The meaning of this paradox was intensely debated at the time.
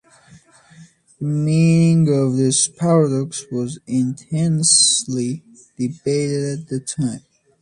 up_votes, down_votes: 0, 2